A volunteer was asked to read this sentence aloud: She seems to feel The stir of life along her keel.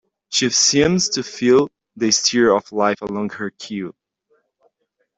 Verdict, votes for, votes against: rejected, 0, 2